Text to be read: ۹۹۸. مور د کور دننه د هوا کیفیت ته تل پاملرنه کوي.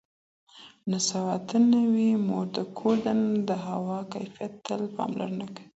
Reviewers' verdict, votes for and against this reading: rejected, 0, 2